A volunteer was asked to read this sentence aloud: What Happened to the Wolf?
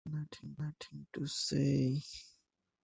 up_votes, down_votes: 0, 3